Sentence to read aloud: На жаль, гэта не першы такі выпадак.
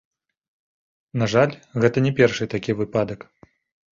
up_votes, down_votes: 1, 2